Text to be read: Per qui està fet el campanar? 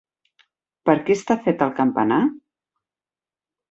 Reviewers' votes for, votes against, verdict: 2, 4, rejected